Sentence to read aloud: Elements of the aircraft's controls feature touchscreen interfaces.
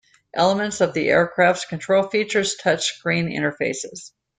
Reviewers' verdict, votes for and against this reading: accepted, 2, 0